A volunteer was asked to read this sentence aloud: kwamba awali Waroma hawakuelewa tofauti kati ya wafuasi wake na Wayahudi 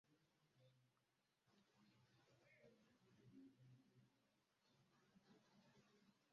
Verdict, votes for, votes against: rejected, 0, 2